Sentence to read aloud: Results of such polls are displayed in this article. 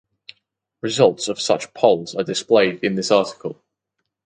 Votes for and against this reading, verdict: 0, 2, rejected